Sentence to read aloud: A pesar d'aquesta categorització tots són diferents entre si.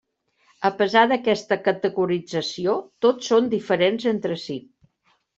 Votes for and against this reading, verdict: 3, 0, accepted